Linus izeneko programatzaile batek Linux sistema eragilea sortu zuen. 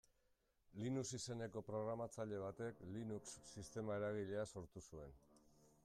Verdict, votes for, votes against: rejected, 1, 2